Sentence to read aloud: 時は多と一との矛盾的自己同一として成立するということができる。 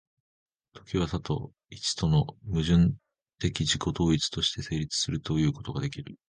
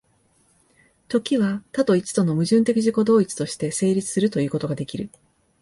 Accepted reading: second